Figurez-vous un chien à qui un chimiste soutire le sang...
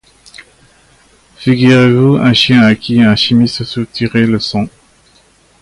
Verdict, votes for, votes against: rejected, 1, 2